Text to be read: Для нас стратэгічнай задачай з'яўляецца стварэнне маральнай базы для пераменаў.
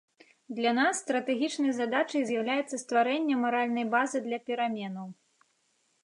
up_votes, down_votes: 2, 0